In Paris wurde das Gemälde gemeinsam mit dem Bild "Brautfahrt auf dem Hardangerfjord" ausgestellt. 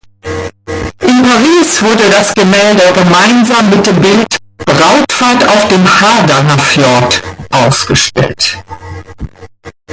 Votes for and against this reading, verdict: 1, 2, rejected